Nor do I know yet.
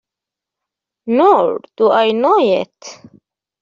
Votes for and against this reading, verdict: 2, 0, accepted